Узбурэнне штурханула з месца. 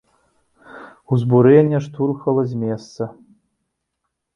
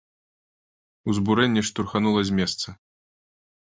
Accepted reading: second